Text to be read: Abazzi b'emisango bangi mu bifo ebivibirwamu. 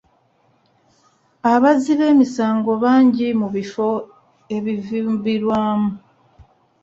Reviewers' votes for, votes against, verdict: 0, 2, rejected